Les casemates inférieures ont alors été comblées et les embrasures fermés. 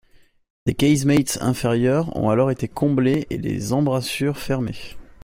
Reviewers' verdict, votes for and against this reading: rejected, 1, 2